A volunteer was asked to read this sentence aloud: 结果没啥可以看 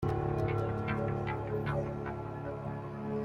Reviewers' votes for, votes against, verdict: 0, 2, rejected